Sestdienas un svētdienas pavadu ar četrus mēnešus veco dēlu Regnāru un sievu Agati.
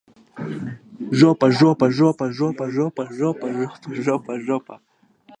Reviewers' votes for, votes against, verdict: 0, 2, rejected